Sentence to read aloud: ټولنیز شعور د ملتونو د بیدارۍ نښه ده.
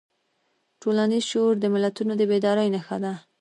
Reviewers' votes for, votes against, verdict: 2, 0, accepted